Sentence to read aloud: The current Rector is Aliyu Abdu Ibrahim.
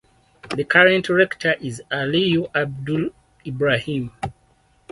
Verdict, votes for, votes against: rejected, 2, 4